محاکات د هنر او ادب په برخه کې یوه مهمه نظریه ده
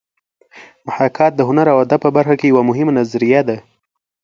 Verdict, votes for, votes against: accepted, 2, 0